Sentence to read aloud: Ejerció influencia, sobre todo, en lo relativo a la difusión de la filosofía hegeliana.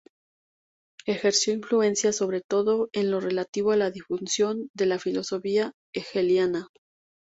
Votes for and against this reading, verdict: 2, 0, accepted